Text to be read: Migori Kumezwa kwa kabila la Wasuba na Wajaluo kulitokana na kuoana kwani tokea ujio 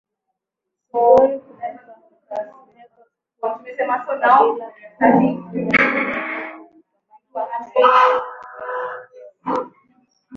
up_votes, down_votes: 0, 2